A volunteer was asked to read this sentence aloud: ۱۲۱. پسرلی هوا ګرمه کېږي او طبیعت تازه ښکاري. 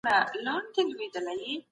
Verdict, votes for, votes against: rejected, 0, 2